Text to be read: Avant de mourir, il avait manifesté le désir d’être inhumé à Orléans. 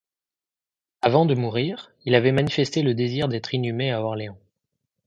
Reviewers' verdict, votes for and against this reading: accepted, 2, 0